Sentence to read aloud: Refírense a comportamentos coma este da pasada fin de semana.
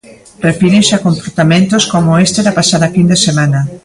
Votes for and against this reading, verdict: 0, 2, rejected